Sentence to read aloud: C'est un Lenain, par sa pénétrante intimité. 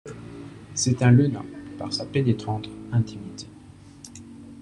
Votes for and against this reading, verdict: 2, 0, accepted